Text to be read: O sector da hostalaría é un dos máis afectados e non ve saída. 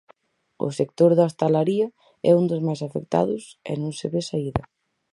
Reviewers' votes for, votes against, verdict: 2, 4, rejected